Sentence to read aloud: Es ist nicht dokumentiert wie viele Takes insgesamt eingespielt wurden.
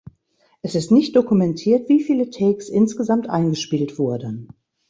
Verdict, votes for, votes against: accepted, 2, 0